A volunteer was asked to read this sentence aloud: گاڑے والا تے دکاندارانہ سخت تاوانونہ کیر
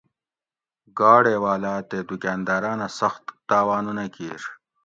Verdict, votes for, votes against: accepted, 2, 1